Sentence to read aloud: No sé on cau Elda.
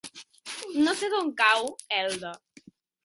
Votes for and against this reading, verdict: 1, 2, rejected